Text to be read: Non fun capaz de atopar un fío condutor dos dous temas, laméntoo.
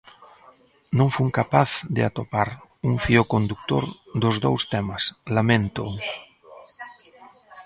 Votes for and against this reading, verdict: 1, 2, rejected